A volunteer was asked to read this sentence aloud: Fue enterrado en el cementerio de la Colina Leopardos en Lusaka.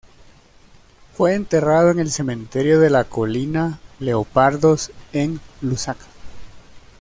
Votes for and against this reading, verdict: 2, 0, accepted